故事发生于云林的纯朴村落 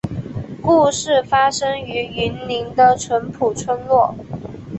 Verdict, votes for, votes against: accepted, 2, 1